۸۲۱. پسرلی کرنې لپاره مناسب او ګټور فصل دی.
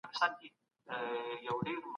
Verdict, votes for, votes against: rejected, 0, 2